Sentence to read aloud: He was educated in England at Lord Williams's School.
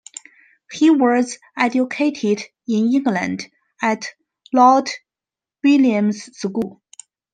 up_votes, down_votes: 2, 0